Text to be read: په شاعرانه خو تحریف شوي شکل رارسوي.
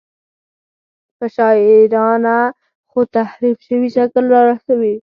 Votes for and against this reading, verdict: 4, 0, accepted